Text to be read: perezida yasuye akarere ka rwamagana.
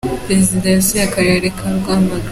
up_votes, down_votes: 2, 3